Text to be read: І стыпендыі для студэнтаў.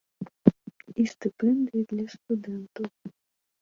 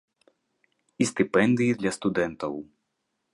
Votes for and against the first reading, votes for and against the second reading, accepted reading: 1, 2, 2, 0, second